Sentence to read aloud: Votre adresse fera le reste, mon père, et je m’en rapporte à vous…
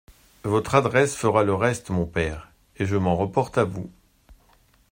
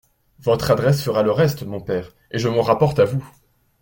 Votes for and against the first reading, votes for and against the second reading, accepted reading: 0, 2, 2, 0, second